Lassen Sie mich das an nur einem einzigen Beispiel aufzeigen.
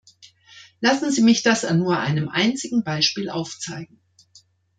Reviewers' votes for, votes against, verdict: 2, 0, accepted